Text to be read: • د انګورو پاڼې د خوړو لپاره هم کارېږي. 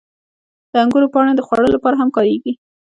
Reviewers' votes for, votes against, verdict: 2, 0, accepted